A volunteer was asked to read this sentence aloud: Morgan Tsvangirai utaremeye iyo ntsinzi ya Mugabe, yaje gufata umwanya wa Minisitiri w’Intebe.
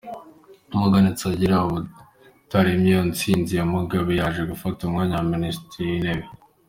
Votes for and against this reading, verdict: 2, 0, accepted